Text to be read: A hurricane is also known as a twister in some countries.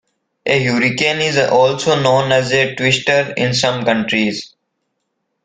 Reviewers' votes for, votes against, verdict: 2, 1, accepted